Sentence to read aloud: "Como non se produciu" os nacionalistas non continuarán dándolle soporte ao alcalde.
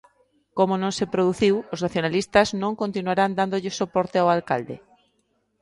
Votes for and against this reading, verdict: 2, 0, accepted